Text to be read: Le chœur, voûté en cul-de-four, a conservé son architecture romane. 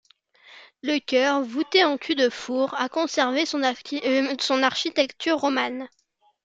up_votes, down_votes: 0, 2